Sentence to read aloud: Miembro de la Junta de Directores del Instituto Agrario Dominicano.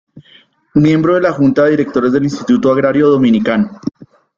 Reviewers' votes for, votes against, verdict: 2, 0, accepted